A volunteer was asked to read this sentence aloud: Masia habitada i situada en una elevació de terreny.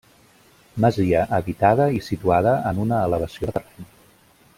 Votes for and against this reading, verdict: 0, 2, rejected